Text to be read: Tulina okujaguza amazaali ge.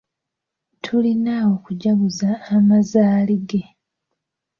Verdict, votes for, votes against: accepted, 2, 1